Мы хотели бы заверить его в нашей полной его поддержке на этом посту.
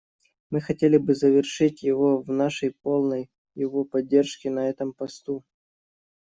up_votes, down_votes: 0, 2